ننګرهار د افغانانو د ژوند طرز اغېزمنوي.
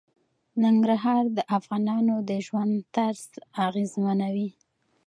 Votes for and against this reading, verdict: 2, 0, accepted